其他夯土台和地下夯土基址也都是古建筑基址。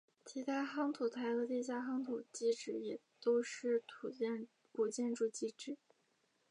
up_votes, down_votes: 1, 3